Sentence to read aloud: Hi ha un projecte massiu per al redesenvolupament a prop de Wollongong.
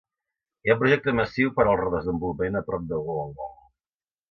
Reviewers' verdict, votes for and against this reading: accepted, 2, 0